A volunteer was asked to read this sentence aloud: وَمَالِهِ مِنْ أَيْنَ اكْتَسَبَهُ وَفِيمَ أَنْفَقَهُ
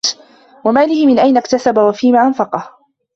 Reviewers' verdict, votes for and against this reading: accepted, 2, 0